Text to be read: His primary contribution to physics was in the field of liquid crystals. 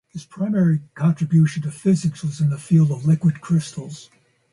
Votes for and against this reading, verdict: 6, 0, accepted